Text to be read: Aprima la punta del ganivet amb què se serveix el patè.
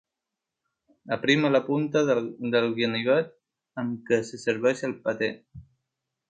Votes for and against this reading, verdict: 1, 2, rejected